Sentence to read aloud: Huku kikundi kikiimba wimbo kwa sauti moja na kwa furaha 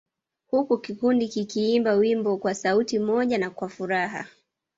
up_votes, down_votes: 2, 1